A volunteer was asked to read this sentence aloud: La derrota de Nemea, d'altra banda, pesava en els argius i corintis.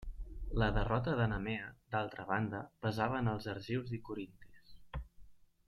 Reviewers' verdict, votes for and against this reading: accepted, 2, 0